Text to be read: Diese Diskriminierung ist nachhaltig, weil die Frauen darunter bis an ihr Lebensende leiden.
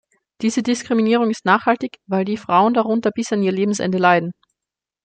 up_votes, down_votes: 2, 0